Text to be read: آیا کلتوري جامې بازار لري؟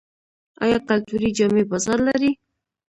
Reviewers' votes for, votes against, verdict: 2, 1, accepted